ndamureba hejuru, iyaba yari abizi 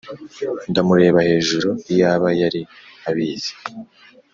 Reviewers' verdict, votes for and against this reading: accepted, 2, 0